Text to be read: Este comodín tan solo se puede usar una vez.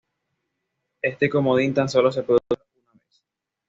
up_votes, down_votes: 1, 2